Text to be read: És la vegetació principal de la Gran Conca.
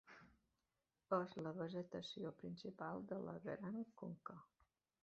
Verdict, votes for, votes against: accepted, 2, 0